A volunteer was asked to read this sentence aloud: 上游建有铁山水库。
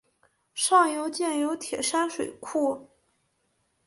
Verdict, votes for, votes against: accepted, 6, 0